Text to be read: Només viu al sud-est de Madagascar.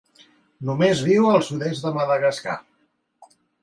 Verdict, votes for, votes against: accepted, 2, 0